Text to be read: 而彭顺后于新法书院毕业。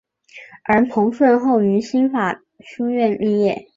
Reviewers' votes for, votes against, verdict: 3, 0, accepted